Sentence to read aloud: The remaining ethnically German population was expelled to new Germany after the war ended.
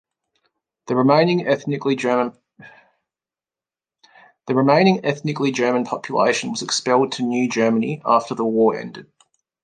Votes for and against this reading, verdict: 0, 2, rejected